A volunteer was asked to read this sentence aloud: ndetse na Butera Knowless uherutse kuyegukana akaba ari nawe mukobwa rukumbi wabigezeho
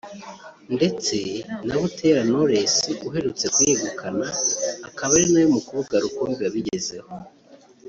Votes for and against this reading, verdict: 3, 0, accepted